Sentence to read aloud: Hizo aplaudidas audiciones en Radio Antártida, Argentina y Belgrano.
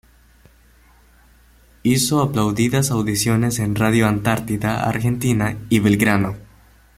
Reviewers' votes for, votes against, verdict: 2, 0, accepted